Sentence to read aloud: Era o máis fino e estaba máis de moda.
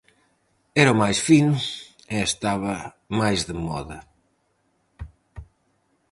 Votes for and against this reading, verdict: 4, 0, accepted